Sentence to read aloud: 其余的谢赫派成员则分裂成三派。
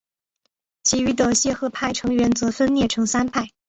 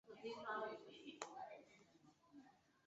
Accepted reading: first